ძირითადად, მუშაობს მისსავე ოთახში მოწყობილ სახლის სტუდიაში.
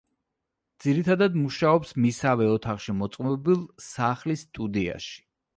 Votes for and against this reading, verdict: 1, 2, rejected